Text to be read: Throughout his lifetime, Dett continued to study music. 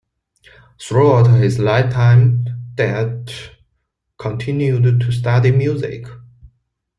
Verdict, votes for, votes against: accepted, 2, 0